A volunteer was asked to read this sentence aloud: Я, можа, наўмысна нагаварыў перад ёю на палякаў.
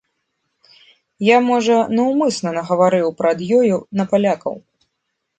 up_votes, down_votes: 2, 1